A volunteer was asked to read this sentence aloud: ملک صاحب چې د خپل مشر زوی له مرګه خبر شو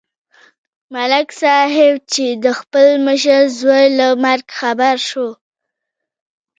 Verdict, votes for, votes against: rejected, 1, 2